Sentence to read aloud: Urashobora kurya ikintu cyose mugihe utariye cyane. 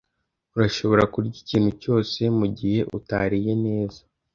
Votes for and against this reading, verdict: 0, 2, rejected